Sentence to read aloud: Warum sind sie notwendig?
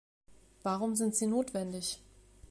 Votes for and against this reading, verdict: 2, 0, accepted